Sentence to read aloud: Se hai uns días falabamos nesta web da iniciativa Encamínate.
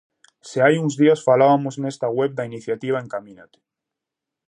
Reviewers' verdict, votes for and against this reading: rejected, 0, 2